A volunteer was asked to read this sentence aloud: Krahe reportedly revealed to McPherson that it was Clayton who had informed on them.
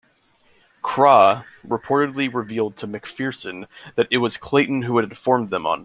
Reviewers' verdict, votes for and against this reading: rejected, 1, 2